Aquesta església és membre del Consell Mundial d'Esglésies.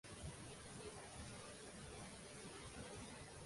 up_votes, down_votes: 0, 2